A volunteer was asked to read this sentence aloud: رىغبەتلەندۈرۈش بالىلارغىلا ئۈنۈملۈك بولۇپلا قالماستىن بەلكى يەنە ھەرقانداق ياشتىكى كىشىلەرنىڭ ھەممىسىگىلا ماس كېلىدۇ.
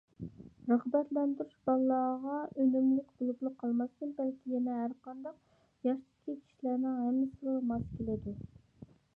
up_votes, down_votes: 1, 2